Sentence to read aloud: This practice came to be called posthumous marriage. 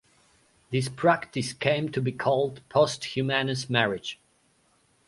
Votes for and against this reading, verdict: 0, 2, rejected